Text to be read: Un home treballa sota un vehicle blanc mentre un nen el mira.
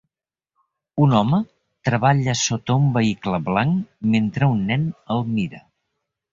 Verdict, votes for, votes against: accepted, 3, 0